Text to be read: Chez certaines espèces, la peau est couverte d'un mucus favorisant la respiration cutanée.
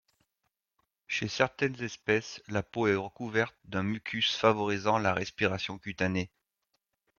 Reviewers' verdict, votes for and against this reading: rejected, 0, 2